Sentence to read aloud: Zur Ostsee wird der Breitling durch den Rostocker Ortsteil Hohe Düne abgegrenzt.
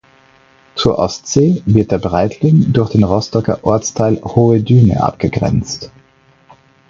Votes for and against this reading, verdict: 4, 0, accepted